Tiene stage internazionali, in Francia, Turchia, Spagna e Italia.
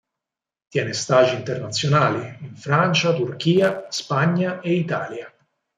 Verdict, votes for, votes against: accepted, 4, 0